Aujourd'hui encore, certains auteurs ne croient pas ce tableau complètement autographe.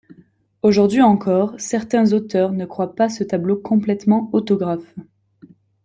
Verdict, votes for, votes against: accepted, 2, 0